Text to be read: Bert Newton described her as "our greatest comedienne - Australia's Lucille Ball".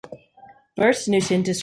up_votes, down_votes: 0, 2